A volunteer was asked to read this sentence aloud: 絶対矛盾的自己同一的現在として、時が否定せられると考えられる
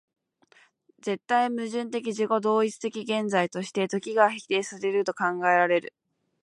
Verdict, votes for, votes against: accepted, 2, 0